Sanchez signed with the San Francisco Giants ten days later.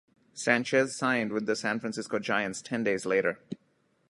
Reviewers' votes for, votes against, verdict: 2, 0, accepted